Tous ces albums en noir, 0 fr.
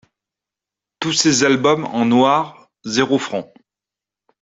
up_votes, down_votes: 0, 2